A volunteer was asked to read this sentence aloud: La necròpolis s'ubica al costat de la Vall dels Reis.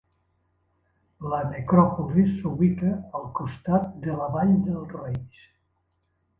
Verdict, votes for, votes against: accepted, 2, 0